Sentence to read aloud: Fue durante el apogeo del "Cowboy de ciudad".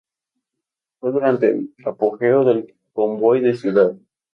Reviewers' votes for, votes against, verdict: 2, 0, accepted